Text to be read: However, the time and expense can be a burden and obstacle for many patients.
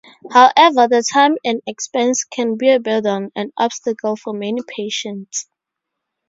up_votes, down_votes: 2, 0